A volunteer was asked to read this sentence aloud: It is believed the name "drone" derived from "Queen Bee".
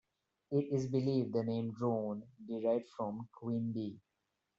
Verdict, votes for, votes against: accepted, 2, 1